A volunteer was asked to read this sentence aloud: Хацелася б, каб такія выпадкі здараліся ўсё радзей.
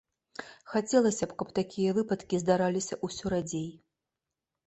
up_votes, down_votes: 2, 0